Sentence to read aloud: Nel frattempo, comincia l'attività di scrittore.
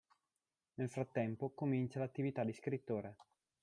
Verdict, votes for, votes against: rejected, 0, 2